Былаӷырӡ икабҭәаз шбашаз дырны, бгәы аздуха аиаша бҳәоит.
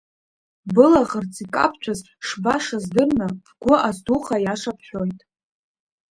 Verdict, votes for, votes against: accepted, 2, 0